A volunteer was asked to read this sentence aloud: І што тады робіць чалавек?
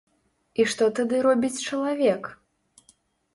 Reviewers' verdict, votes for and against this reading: accepted, 2, 0